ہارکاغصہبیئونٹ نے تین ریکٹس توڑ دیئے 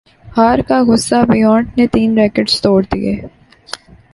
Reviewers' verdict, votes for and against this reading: accepted, 2, 0